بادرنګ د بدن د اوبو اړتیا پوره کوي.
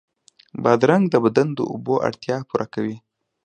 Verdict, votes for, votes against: accepted, 2, 0